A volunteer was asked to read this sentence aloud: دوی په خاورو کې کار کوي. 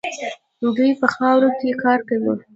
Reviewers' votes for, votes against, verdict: 3, 0, accepted